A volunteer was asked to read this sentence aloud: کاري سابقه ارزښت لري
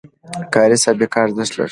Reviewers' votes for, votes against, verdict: 2, 0, accepted